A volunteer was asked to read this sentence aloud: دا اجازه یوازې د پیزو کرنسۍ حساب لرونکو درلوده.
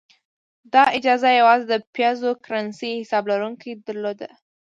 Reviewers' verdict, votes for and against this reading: rejected, 1, 2